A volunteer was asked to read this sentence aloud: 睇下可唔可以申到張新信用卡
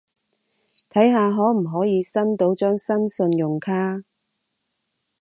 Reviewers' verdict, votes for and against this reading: accepted, 2, 0